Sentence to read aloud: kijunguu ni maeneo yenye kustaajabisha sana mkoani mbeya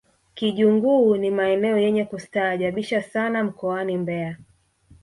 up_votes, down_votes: 2, 0